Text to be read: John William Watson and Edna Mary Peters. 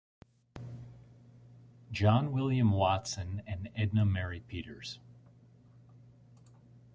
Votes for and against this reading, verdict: 1, 2, rejected